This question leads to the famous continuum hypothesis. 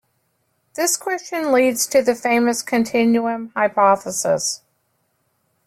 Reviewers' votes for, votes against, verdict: 2, 0, accepted